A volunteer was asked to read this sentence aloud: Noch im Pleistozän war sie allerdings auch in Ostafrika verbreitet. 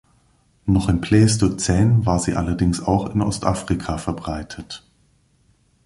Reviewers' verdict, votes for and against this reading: accepted, 2, 0